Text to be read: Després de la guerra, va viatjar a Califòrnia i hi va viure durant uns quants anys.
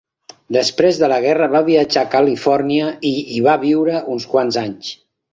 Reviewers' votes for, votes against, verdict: 0, 2, rejected